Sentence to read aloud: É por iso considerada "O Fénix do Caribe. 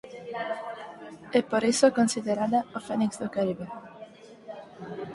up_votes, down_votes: 2, 4